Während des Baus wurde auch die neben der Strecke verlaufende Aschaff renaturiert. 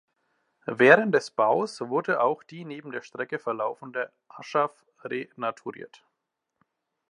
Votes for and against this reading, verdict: 2, 0, accepted